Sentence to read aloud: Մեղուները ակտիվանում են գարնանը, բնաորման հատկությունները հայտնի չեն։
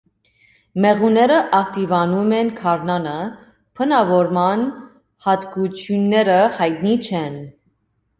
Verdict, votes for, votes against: accepted, 2, 0